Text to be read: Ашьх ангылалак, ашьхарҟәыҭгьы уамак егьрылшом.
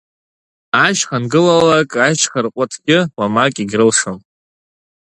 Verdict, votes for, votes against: accepted, 3, 0